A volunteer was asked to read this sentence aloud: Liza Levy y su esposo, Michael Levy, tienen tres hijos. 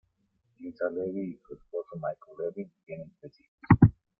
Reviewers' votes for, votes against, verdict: 1, 2, rejected